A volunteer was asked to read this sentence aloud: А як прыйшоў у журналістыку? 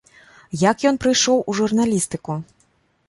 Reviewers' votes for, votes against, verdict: 0, 2, rejected